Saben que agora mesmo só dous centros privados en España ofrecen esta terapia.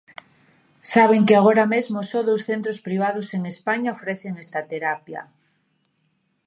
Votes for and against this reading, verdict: 2, 0, accepted